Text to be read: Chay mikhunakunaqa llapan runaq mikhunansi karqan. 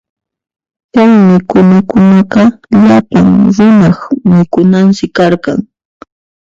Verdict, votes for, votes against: rejected, 0, 2